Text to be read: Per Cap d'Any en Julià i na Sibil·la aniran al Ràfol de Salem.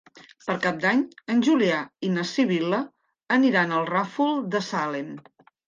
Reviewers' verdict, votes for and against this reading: accepted, 2, 0